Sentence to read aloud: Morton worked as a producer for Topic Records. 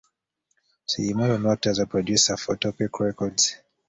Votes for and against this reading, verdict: 1, 2, rejected